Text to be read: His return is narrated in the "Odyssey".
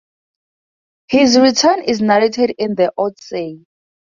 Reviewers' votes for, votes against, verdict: 2, 0, accepted